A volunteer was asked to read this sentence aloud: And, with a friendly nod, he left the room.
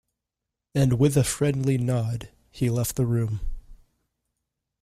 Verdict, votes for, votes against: accepted, 2, 0